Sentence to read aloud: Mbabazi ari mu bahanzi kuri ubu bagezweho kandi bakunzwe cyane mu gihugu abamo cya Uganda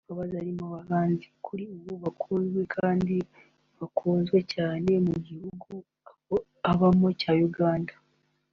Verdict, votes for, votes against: rejected, 1, 2